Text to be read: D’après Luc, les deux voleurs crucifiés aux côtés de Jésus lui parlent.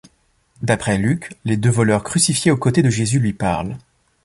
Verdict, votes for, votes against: rejected, 1, 2